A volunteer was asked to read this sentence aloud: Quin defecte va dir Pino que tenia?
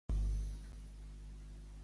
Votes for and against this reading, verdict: 0, 2, rejected